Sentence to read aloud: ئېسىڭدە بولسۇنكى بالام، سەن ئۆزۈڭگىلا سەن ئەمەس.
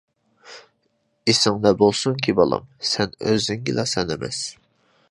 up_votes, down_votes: 2, 0